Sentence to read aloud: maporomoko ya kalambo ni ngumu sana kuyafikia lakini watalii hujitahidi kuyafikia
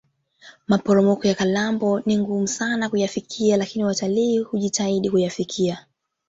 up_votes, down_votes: 2, 1